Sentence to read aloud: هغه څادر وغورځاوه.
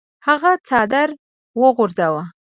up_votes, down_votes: 2, 0